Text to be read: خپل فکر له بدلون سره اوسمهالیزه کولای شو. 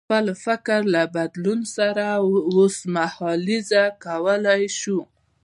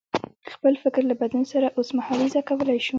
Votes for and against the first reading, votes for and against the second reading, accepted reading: 1, 2, 2, 0, second